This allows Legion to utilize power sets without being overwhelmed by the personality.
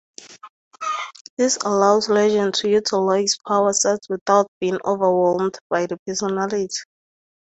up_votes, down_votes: 4, 2